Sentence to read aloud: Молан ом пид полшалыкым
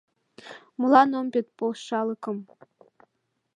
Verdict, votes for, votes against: accepted, 2, 0